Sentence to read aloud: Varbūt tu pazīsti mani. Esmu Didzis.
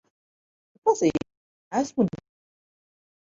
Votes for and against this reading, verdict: 0, 2, rejected